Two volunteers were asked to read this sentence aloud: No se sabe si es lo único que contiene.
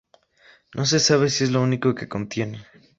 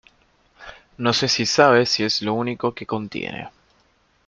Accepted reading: first